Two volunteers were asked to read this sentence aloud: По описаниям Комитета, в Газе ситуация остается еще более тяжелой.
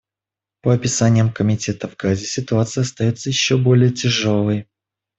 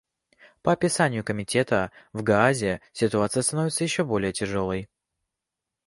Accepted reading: first